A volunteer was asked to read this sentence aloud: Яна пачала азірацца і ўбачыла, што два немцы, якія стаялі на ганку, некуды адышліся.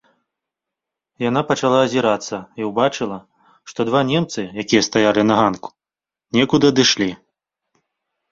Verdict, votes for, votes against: rejected, 1, 2